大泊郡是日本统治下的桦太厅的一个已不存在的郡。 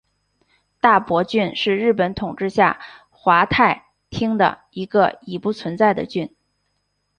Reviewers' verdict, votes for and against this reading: accepted, 3, 0